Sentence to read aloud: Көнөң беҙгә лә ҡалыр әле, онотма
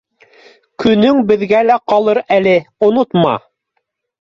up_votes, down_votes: 2, 0